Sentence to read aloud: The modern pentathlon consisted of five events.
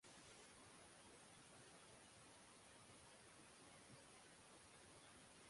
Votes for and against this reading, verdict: 0, 6, rejected